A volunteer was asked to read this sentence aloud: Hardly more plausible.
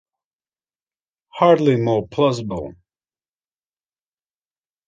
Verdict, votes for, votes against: accepted, 2, 0